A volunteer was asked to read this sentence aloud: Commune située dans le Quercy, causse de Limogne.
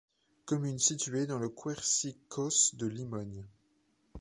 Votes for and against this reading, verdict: 0, 2, rejected